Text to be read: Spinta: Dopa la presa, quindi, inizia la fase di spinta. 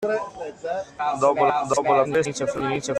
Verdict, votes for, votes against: rejected, 0, 2